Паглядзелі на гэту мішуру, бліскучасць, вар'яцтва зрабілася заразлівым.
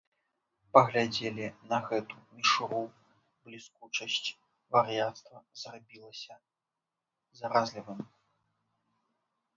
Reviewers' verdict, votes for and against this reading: rejected, 1, 2